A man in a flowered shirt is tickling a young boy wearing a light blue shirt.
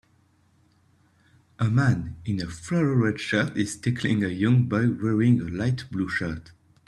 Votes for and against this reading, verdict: 0, 2, rejected